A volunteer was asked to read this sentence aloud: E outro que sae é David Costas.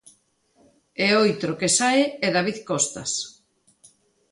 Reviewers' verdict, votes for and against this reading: rejected, 0, 2